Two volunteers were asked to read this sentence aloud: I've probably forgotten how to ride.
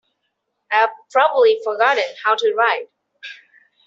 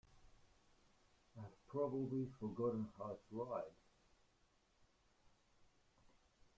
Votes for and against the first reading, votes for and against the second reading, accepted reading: 3, 0, 0, 2, first